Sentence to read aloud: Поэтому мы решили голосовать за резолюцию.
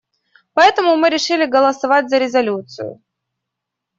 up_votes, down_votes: 2, 0